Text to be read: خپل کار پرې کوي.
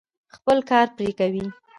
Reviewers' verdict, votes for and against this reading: accepted, 2, 0